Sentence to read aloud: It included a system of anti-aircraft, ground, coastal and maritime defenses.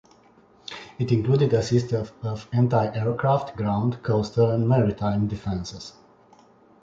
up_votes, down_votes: 1, 2